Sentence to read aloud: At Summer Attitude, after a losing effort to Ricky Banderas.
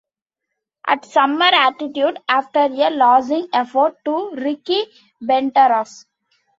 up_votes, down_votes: 0, 2